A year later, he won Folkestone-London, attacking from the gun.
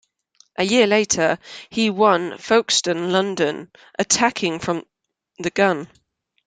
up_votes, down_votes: 2, 0